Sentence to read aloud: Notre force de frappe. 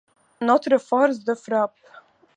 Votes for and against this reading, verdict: 2, 0, accepted